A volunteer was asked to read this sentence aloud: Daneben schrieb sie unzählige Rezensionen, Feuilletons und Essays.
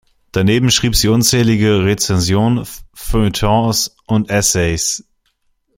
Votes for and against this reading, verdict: 0, 2, rejected